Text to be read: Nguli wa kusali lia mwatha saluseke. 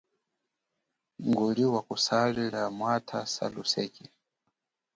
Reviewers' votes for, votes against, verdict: 4, 0, accepted